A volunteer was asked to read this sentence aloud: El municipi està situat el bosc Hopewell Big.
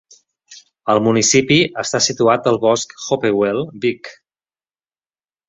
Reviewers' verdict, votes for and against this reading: accepted, 2, 0